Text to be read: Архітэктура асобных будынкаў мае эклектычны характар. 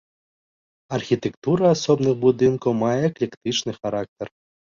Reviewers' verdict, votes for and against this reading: accepted, 2, 0